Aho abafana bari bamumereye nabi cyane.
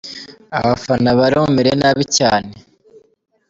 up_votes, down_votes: 1, 2